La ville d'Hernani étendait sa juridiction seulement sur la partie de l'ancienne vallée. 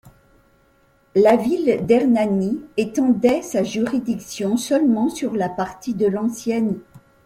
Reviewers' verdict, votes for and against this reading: rejected, 1, 2